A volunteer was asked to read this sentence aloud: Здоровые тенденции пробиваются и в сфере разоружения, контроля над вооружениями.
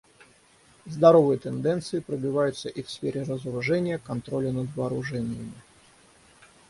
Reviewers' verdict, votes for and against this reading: accepted, 6, 3